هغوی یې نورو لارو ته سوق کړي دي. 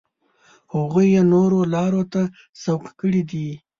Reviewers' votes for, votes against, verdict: 2, 0, accepted